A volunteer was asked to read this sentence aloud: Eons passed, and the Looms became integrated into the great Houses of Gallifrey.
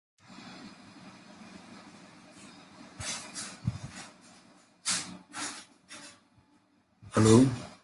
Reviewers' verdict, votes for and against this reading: rejected, 0, 2